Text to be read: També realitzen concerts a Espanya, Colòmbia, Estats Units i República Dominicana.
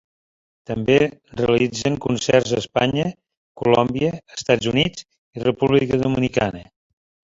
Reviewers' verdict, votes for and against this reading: rejected, 1, 2